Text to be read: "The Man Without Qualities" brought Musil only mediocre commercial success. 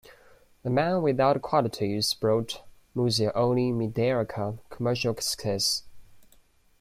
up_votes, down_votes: 1, 2